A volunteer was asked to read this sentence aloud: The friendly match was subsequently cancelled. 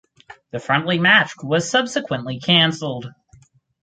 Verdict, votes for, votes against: rejected, 2, 2